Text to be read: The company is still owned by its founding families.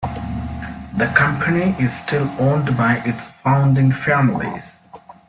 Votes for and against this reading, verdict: 2, 0, accepted